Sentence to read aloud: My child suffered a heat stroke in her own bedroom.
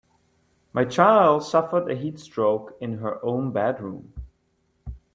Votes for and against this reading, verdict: 2, 0, accepted